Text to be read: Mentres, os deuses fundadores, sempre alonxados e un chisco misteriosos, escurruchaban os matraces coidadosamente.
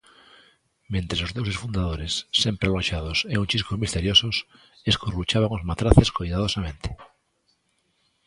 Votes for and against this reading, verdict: 2, 0, accepted